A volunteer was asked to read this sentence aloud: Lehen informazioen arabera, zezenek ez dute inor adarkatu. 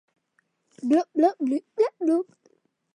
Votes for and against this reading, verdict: 0, 2, rejected